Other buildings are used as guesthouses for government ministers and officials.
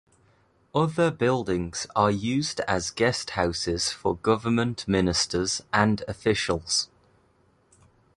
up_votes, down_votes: 2, 0